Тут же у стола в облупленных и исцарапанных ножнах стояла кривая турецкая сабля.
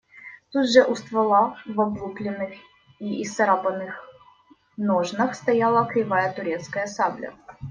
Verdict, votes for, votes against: rejected, 1, 2